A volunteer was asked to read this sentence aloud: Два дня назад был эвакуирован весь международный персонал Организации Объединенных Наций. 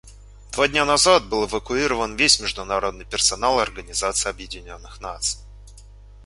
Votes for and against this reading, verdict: 1, 2, rejected